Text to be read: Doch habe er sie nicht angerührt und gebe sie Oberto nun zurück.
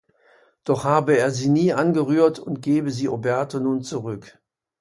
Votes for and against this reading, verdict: 2, 0, accepted